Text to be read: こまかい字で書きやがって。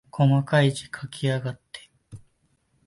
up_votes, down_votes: 0, 2